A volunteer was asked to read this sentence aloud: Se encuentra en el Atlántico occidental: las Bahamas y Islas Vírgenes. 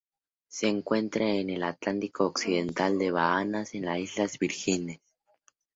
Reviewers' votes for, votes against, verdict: 0, 2, rejected